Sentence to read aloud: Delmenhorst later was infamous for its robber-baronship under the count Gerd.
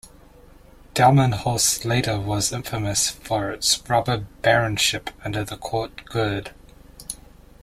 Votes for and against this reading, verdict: 0, 2, rejected